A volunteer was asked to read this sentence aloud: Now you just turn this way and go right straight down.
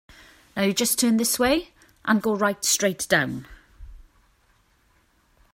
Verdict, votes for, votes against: accepted, 3, 0